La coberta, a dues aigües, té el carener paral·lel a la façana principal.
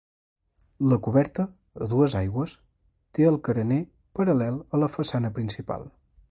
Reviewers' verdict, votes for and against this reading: accepted, 2, 0